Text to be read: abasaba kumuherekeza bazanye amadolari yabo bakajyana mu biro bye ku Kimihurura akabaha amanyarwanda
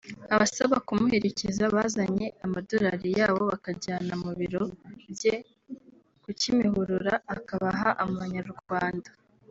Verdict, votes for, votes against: accepted, 2, 0